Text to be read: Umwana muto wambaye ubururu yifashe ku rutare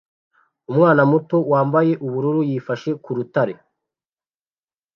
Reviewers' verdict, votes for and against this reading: accepted, 2, 0